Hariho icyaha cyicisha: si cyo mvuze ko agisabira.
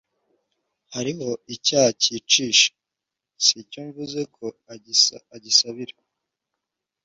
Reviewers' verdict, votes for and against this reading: rejected, 0, 2